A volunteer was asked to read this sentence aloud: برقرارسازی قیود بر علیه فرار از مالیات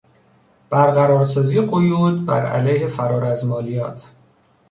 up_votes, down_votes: 2, 0